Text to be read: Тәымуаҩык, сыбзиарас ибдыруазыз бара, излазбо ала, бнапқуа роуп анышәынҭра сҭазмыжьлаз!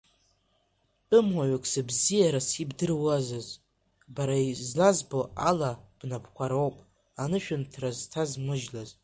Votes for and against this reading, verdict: 2, 1, accepted